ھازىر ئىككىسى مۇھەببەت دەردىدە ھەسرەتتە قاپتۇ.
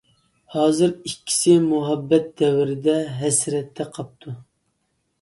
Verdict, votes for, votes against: rejected, 0, 2